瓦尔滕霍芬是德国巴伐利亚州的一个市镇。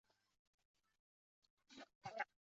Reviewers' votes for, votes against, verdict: 0, 2, rejected